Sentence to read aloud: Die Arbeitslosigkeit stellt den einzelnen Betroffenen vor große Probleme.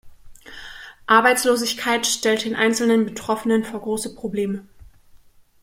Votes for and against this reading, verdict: 0, 2, rejected